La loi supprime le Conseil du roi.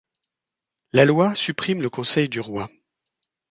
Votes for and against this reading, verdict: 2, 0, accepted